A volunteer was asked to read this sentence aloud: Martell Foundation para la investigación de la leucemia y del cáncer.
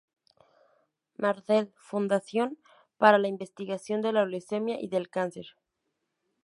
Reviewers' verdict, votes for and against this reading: rejected, 0, 2